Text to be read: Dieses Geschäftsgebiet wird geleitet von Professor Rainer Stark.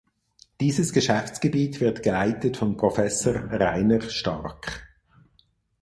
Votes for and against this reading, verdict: 2, 4, rejected